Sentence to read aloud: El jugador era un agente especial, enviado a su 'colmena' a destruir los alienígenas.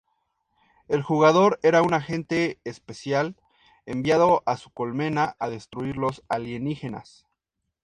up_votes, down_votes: 4, 0